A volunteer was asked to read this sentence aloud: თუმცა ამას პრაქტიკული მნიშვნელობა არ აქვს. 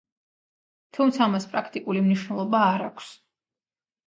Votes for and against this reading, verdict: 2, 0, accepted